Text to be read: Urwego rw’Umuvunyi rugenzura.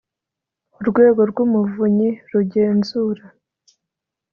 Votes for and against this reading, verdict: 2, 0, accepted